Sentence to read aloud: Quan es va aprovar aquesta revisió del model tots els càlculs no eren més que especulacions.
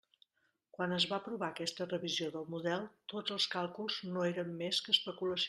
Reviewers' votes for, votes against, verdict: 0, 2, rejected